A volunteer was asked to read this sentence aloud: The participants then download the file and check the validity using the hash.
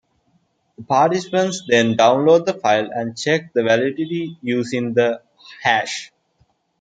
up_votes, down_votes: 1, 2